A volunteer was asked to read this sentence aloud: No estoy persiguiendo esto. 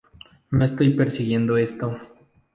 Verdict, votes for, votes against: rejected, 0, 2